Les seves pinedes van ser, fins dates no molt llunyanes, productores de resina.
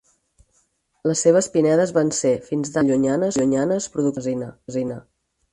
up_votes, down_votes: 0, 4